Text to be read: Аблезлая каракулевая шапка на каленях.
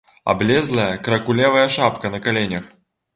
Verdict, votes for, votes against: rejected, 1, 2